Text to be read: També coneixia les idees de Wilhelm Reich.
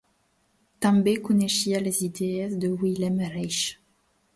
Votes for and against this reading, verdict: 3, 0, accepted